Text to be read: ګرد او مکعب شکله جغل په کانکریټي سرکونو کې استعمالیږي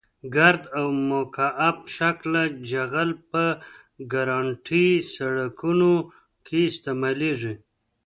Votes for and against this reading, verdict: 0, 2, rejected